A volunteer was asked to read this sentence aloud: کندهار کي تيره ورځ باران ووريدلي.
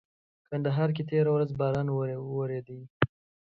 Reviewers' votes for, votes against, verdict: 2, 0, accepted